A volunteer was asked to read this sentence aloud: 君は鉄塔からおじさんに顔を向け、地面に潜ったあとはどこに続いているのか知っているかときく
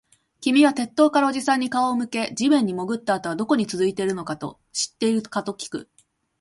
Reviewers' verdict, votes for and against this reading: rejected, 1, 3